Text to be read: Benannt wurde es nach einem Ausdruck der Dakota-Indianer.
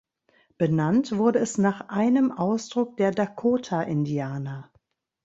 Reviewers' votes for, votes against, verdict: 1, 2, rejected